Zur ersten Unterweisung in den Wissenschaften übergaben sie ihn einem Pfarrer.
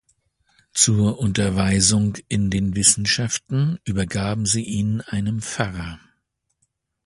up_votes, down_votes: 1, 2